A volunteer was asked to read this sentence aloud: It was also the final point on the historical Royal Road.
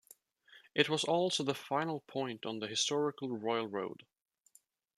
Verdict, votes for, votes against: accepted, 2, 0